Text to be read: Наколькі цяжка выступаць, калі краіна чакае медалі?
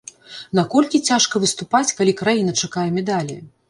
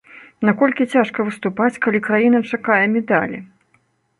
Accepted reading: second